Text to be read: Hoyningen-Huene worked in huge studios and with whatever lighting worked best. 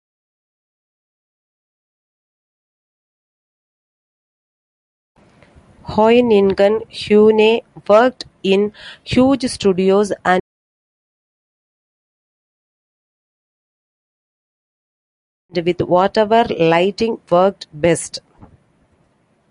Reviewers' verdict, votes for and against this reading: rejected, 0, 2